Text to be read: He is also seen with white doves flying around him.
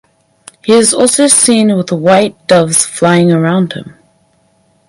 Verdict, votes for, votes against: accepted, 4, 0